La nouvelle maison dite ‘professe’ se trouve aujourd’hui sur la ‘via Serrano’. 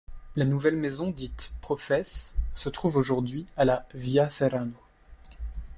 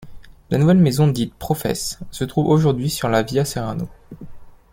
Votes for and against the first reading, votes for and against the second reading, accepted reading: 0, 2, 2, 0, second